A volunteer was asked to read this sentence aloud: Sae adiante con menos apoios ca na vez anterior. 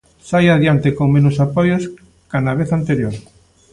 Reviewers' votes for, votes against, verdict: 2, 0, accepted